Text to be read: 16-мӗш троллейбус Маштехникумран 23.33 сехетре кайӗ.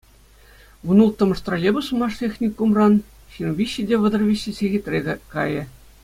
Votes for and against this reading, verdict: 0, 2, rejected